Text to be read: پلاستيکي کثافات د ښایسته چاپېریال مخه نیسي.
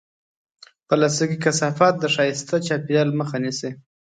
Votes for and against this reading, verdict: 2, 0, accepted